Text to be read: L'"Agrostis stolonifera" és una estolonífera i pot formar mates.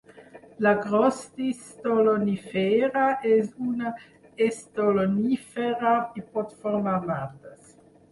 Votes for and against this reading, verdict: 2, 4, rejected